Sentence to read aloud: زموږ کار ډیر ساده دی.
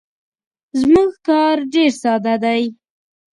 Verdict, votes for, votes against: accepted, 2, 0